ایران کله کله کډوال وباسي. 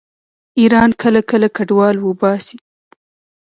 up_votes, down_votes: 1, 2